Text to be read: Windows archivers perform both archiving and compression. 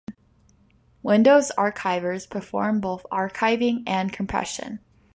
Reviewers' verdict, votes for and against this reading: accepted, 2, 0